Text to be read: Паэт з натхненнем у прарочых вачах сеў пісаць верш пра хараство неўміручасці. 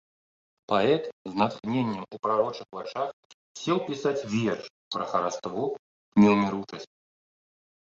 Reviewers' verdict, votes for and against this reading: accepted, 2, 0